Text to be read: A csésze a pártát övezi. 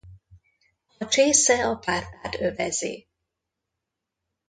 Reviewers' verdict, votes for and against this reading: rejected, 0, 2